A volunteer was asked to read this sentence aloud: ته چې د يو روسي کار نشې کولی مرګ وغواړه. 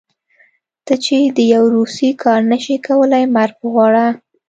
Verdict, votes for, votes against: accepted, 2, 0